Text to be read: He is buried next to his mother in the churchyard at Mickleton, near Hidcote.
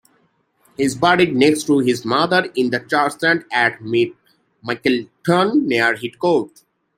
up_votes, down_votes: 0, 2